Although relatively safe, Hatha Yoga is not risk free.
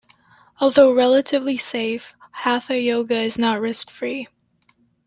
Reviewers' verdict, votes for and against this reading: accepted, 2, 0